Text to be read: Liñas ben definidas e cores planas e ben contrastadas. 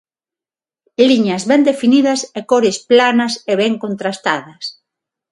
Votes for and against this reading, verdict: 6, 0, accepted